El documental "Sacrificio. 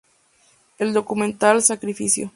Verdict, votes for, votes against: accepted, 4, 0